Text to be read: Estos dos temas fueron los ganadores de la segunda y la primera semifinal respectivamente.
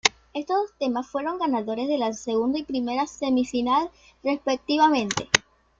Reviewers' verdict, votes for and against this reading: accepted, 2, 1